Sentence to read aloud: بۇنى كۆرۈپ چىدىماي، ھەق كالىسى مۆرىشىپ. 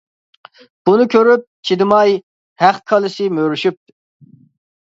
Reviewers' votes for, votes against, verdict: 2, 0, accepted